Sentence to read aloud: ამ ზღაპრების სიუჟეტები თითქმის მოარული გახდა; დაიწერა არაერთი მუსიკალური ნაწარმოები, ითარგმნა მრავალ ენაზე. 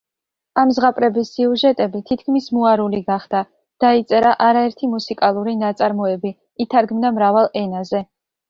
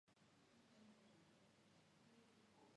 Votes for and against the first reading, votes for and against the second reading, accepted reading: 2, 0, 0, 2, first